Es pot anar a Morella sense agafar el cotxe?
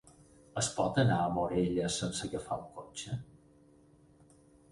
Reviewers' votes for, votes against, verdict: 4, 0, accepted